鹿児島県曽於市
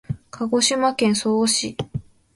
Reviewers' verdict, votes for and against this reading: accepted, 2, 0